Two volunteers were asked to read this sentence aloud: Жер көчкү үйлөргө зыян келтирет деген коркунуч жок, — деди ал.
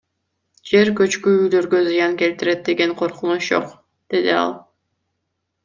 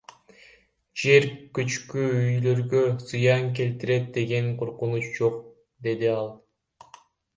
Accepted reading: first